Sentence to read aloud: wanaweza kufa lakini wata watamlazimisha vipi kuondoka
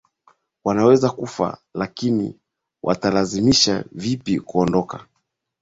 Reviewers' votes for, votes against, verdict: 0, 3, rejected